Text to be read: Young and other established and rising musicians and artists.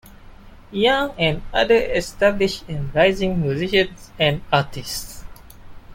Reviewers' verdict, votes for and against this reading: rejected, 2, 3